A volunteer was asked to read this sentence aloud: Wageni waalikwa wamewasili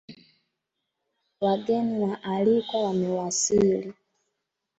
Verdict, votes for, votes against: accepted, 2, 0